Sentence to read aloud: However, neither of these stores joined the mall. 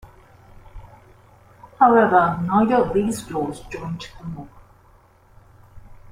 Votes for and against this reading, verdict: 0, 2, rejected